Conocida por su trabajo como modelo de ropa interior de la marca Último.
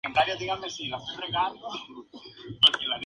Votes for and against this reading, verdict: 0, 2, rejected